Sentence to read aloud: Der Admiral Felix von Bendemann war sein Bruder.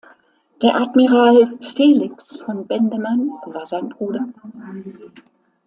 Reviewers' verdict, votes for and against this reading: accepted, 2, 0